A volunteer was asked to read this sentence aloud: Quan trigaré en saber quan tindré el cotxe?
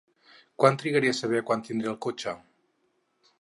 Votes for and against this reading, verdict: 6, 10, rejected